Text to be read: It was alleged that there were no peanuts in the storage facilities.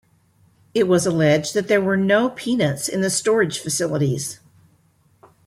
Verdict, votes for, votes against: accepted, 2, 0